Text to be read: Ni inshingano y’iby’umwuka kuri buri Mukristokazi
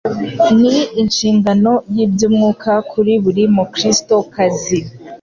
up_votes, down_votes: 2, 0